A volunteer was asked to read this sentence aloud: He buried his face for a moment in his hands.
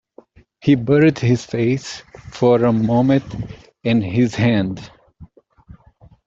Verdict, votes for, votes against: rejected, 1, 2